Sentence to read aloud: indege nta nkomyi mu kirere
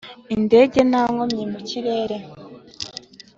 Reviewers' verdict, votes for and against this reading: accepted, 3, 0